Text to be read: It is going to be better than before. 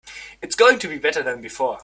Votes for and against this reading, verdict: 0, 2, rejected